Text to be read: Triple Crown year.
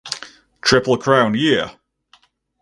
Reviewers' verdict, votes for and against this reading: accepted, 6, 0